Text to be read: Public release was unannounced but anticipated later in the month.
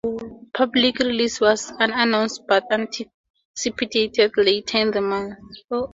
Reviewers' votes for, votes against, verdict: 0, 2, rejected